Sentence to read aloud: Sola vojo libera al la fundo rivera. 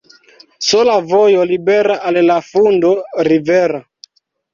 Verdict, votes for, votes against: accepted, 2, 0